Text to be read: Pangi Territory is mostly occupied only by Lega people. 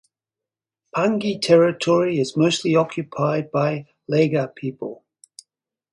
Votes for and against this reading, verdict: 0, 4, rejected